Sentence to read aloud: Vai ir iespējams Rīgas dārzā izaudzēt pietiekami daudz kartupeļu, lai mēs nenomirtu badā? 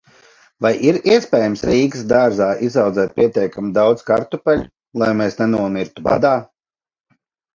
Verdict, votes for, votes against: accepted, 2, 0